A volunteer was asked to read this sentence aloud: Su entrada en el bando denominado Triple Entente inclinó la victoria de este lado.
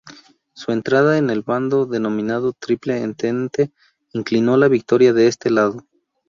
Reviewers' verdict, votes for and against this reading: rejected, 0, 4